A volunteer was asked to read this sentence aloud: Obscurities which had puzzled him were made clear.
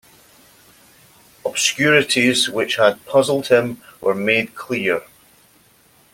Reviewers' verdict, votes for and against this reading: accepted, 2, 0